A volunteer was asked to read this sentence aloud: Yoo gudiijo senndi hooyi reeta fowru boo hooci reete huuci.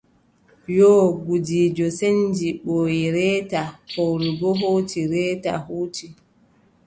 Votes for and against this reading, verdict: 3, 0, accepted